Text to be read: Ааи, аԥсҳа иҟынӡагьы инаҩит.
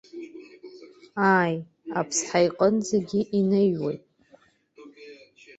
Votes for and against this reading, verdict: 0, 2, rejected